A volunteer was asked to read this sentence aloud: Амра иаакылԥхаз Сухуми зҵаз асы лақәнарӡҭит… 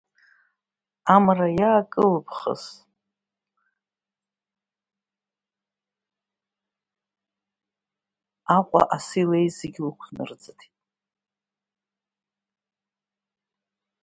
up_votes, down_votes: 1, 2